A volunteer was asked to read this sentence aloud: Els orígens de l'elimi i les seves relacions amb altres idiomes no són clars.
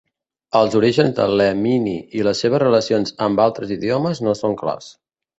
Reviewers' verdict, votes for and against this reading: rejected, 1, 2